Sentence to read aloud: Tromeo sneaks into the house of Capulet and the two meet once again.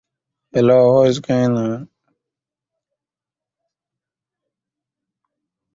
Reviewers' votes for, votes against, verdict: 1, 2, rejected